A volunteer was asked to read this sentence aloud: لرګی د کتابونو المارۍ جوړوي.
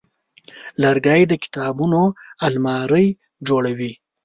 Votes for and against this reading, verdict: 2, 0, accepted